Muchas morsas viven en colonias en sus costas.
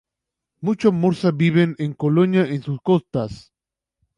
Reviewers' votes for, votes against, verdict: 2, 0, accepted